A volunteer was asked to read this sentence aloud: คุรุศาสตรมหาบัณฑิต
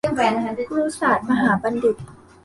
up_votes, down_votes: 0, 2